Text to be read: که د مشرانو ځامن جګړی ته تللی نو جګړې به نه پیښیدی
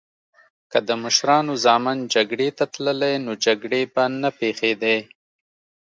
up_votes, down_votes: 2, 0